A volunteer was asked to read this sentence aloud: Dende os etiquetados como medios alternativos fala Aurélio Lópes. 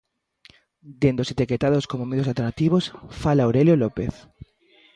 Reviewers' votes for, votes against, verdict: 0, 2, rejected